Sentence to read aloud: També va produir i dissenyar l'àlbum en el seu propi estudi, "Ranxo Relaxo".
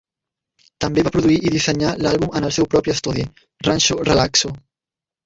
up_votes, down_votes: 0, 2